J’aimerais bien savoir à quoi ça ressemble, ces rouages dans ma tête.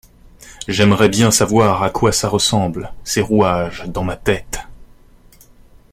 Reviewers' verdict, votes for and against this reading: rejected, 0, 2